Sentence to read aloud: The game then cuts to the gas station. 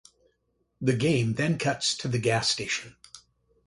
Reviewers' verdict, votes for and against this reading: accepted, 2, 0